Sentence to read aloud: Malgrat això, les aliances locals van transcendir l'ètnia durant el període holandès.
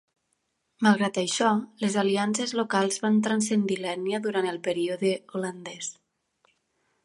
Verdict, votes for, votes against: accepted, 4, 0